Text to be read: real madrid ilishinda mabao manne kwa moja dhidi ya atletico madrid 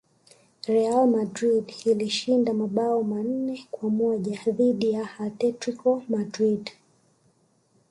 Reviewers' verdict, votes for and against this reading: accepted, 2, 0